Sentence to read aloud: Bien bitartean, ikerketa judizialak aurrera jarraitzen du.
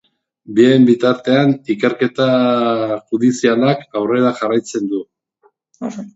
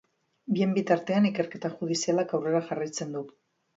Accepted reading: second